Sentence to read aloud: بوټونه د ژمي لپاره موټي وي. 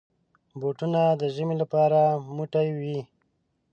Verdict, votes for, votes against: rejected, 1, 2